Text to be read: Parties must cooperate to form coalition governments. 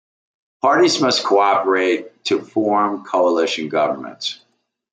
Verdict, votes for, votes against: accepted, 2, 0